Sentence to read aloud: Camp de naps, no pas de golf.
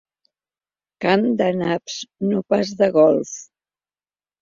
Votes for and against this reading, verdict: 3, 0, accepted